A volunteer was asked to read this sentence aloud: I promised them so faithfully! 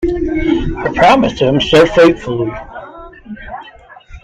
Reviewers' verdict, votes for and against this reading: rejected, 1, 2